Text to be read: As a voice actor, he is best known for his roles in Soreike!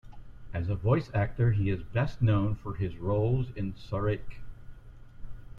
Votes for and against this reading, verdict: 2, 1, accepted